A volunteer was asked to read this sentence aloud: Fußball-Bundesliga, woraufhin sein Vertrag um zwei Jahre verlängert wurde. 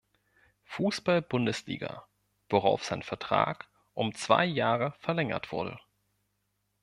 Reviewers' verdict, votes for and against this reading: rejected, 1, 2